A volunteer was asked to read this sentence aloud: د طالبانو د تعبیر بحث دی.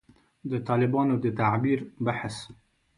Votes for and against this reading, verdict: 1, 2, rejected